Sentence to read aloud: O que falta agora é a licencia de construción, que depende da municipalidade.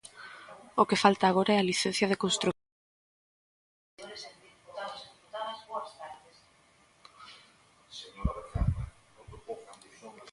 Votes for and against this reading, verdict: 0, 2, rejected